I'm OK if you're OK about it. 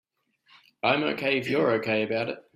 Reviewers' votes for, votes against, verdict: 2, 0, accepted